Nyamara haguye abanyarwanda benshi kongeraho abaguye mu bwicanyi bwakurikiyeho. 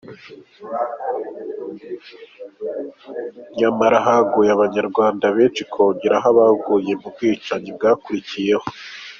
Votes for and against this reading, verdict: 2, 0, accepted